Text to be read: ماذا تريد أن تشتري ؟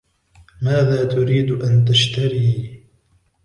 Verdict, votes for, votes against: rejected, 1, 2